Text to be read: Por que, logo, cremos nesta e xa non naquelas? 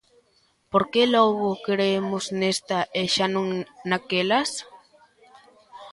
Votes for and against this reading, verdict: 0, 2, rejected